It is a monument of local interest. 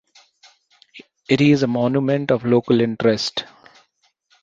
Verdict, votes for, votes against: accepted, 2, 0